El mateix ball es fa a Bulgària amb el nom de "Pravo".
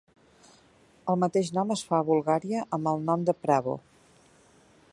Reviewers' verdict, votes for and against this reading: rejected, 0, 2